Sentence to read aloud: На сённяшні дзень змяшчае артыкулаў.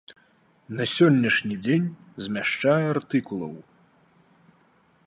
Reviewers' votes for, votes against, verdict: 2, 0, accepted